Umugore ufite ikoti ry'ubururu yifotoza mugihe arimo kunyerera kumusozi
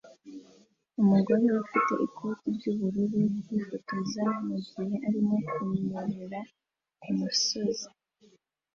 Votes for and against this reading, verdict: 2, 0, accepted